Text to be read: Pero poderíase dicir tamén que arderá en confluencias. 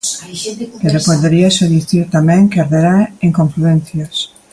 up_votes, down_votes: 0, 2